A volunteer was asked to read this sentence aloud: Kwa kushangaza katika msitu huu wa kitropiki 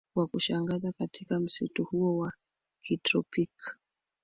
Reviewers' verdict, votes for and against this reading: accepted, 2, 0